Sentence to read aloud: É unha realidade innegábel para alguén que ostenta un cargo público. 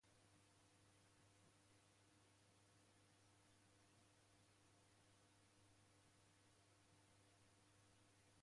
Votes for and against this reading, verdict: 0, 2, rejected